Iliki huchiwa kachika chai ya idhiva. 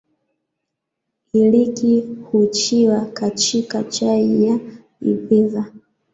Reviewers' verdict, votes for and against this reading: accepted, 2, 1